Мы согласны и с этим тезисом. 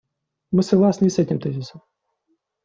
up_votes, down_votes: 2, 0